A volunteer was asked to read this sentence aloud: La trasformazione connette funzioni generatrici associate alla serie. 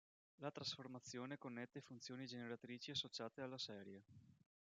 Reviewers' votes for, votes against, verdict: 1, 2, rejected